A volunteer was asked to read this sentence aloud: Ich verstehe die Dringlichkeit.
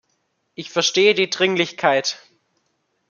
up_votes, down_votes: 2, 0